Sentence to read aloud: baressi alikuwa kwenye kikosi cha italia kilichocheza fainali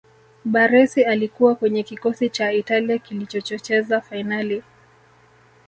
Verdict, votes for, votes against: accepted, 3, 0